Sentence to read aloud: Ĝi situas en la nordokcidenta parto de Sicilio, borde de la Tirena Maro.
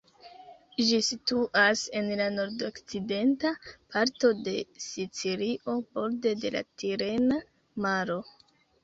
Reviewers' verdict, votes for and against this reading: rejected, 3, 4